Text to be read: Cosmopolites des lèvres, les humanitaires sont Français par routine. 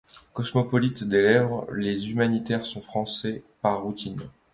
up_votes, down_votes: 2, 0